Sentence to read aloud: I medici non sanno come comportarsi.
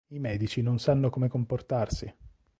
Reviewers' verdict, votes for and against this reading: accepted, 2, 0